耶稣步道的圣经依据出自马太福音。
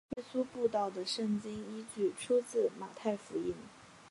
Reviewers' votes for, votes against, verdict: 1, 2, rejected